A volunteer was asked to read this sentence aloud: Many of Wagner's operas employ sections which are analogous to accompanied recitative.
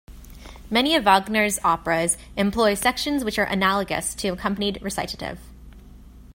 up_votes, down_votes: 2, 0